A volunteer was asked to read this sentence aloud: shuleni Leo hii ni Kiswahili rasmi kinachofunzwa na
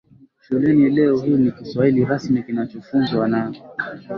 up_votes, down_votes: 2, 0